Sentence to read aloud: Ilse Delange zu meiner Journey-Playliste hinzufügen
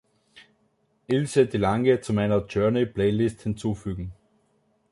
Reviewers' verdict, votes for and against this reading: rejected, 1, 3